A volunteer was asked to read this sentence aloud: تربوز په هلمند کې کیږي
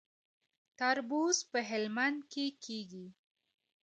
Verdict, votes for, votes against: accepted, 2, 0